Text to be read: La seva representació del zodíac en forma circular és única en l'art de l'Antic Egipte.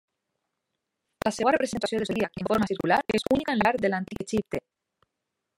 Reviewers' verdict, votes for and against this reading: rejected, 0, 2